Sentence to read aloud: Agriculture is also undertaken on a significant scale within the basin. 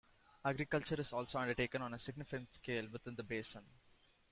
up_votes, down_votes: 2, 0